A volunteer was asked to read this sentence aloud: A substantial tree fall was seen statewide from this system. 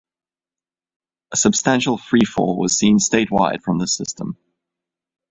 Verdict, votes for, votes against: accepted, 2, 0